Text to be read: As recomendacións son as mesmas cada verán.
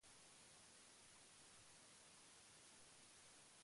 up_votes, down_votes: 0, 2